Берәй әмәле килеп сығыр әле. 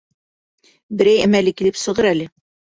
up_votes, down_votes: 2, 0